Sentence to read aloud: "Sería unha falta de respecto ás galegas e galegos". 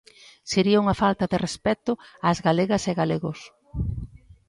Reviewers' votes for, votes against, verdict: 2, 0, accepted